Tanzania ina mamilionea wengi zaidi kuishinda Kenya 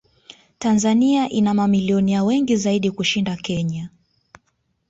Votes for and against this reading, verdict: 2, 0, accepted